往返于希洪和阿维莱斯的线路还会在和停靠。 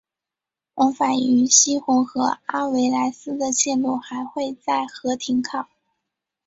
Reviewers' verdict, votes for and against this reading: accepted, 4, 0